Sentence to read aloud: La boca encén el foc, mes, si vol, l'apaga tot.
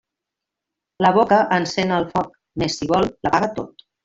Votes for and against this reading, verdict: 1, 2, rejected